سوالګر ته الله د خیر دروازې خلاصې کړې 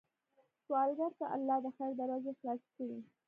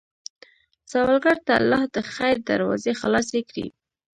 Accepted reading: second